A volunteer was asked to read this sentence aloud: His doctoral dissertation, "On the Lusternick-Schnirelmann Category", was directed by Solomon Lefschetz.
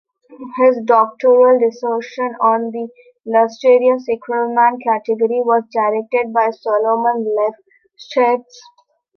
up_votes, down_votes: 0, 2